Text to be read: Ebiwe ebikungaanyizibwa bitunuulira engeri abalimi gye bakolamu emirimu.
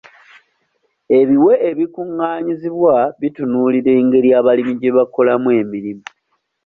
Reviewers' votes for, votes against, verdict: 2, 0, accepted